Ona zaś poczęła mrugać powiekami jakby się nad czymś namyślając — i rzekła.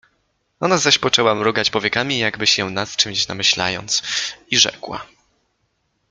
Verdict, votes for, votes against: accepted, 2, 0